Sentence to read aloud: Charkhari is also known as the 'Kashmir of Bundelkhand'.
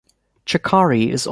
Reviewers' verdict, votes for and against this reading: rejected, 0, 2